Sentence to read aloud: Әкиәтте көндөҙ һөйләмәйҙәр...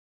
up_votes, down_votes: 0, 2